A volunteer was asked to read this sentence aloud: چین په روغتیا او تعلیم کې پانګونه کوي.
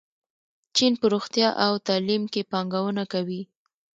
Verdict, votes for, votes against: rejected, 0, 2